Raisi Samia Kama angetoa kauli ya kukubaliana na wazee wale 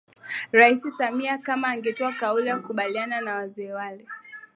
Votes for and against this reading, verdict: 0, 2, rejected